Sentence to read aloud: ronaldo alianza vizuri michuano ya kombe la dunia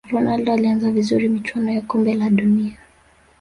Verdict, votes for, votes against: rejected, 1, 2